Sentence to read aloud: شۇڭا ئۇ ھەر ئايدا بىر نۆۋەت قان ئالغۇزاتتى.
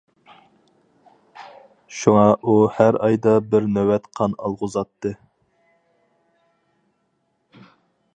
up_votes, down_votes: 4, 0